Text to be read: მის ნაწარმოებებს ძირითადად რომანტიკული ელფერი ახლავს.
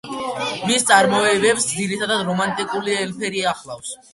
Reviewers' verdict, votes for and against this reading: rejected, 0, 2